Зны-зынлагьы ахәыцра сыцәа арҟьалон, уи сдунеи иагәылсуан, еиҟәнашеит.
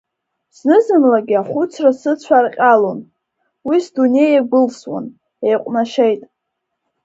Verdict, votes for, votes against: rejected, 1, 2